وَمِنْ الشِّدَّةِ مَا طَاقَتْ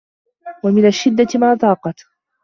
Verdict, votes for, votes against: accepted, 2, 1